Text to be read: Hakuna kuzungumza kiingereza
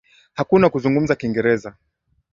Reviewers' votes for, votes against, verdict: 2, 0, accepted